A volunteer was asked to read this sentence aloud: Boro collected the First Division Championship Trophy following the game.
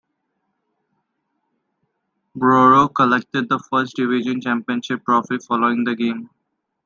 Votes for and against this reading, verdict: 3, 1, accepted